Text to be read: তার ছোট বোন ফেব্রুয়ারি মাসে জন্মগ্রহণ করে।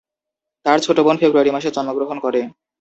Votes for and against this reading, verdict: 2, 2, rejected